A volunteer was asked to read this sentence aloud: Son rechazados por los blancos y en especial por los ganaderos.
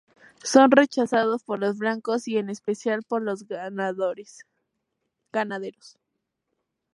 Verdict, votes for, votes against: accepted, 4, 0